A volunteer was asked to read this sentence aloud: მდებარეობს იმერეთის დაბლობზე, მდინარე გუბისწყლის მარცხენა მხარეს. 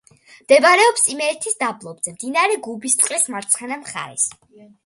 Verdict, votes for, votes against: accepted, 2, 0